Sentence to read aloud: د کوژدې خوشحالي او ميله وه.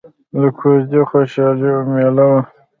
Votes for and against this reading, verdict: 1, 2, rejected